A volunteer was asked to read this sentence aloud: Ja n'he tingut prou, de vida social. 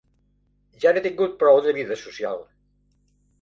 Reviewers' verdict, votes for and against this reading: accepted, 2, 0